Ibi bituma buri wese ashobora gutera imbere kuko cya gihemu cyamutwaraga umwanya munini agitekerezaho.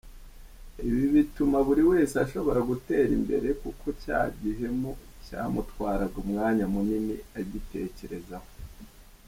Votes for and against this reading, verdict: 1, 2, rejected